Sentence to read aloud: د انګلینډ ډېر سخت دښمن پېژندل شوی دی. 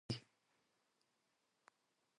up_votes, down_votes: 1, 2